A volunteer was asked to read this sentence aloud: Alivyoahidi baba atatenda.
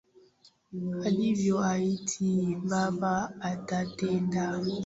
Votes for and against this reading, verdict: 2, 1, accepted